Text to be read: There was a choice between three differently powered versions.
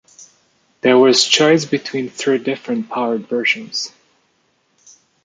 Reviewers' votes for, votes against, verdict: 0, 2, rejected